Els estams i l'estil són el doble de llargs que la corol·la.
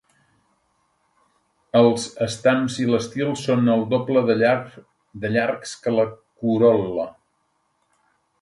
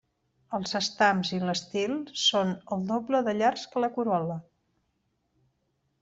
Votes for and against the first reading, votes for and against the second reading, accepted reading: 1, 2, 2, 0, second